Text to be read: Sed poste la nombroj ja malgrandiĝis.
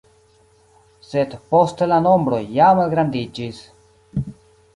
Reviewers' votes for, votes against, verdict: 2, 1, accepted